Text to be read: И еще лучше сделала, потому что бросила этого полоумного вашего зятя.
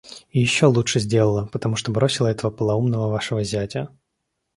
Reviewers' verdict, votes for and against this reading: accepted, 2, 0